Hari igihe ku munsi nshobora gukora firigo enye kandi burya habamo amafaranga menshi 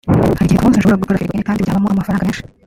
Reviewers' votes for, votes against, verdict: 0, 2, rejected